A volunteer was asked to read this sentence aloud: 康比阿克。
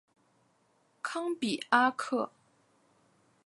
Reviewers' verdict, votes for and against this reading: accepted, 4, 0